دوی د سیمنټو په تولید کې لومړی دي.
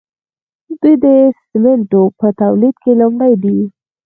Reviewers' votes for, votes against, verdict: 4, 2, accepted